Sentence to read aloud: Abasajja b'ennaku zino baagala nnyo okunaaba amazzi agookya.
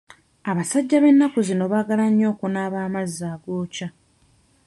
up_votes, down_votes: 2, 0